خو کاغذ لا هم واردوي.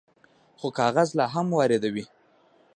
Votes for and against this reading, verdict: 0, 2, rejected